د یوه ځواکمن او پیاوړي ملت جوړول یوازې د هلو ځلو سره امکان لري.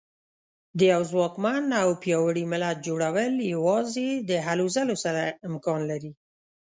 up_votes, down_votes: 2, 0